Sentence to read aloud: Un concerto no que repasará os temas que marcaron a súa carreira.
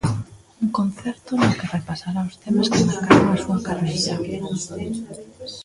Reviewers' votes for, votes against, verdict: 0, 2, rejected